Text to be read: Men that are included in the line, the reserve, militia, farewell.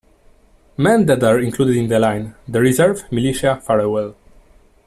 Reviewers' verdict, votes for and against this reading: rejected, 0, 2